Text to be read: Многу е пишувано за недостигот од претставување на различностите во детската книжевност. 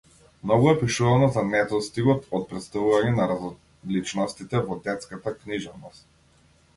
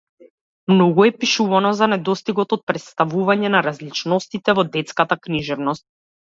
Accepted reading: second